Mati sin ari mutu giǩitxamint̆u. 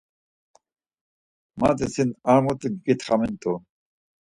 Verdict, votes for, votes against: accepted, 4, 0